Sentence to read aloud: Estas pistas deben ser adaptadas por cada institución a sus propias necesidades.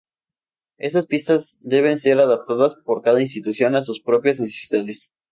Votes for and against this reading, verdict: 0, 2, rejected